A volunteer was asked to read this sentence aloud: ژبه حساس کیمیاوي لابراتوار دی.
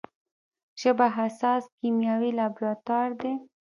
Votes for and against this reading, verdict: 2, 0, accepted